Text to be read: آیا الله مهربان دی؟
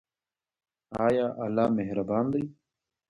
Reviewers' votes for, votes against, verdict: 1, 2, rejected